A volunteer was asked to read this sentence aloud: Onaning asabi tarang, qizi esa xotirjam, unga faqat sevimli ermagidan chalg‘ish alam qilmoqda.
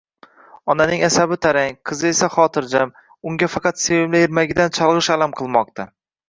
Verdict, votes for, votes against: accepted, 2, 0